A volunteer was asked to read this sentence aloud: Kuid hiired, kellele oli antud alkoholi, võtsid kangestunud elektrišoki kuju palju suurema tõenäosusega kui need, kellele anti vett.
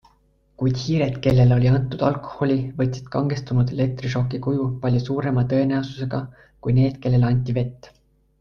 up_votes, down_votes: 2, 0